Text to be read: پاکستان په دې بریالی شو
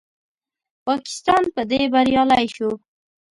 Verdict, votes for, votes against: accepted, 2, 0